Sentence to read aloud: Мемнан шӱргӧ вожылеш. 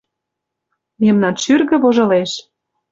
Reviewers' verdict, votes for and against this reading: accepted, 2, 0